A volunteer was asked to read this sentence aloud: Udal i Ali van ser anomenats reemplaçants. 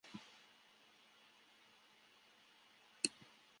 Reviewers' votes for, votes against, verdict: 0, 2, rejected